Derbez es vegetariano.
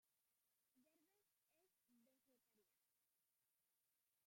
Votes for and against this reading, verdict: 0, 2, rejected